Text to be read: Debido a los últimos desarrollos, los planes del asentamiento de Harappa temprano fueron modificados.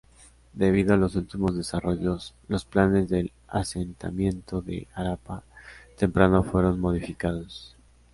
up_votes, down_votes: 2, 0